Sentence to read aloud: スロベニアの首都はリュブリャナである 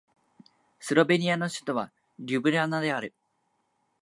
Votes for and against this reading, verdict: 2, 0, accepted